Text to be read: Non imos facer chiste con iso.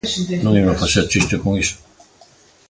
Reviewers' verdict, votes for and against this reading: rejected, 1, 2